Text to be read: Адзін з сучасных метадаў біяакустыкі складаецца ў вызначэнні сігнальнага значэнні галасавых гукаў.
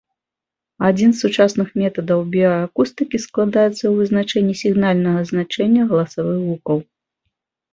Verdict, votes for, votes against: accepted, 4, 0